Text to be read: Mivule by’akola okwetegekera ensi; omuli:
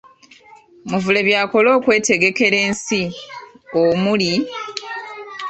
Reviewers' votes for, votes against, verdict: 0, 2, rejected